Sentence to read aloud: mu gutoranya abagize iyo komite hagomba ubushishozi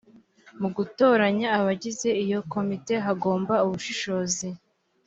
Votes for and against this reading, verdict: 2, 0, accepted